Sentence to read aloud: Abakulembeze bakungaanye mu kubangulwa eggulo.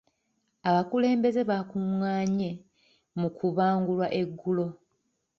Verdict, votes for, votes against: accepted, 2, 0